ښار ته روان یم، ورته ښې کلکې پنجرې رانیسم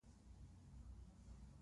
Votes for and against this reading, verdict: 0, 2, rejected